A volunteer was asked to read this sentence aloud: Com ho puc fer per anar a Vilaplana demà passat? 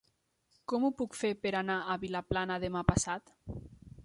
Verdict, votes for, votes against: accepted, 3, 0